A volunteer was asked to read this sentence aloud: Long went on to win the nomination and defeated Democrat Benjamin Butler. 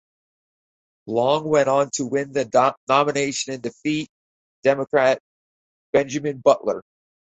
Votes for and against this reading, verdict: 2, 2, rejected